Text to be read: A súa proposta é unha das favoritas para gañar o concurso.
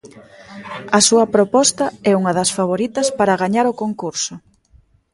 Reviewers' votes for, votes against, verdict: 2, 0, accepted